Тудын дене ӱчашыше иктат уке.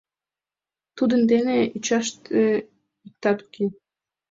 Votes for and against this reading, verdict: 1, 2, rejected